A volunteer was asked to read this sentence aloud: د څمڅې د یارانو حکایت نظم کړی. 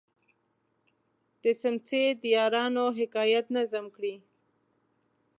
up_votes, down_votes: 1, 2